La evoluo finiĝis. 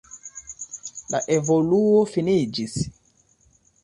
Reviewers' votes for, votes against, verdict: 2, 0, accepted